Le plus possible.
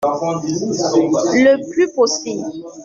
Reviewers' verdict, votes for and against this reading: rejected, 1, 2